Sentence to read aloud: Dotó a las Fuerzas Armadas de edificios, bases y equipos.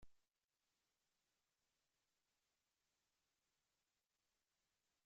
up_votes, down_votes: 0, 2